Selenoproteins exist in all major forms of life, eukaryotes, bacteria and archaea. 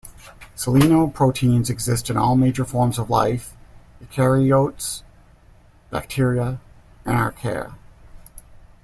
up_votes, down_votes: 1, 2